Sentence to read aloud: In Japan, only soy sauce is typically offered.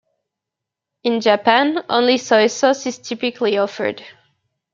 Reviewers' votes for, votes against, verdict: 2, 0, accepted